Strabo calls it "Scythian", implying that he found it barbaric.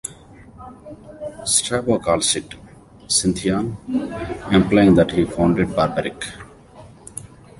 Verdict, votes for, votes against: rejected, 1, 2